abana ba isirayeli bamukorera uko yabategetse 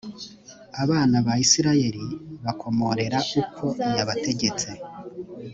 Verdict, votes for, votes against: rejected, 1, 2